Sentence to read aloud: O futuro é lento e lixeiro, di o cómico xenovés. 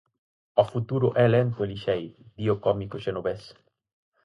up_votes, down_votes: 4, 0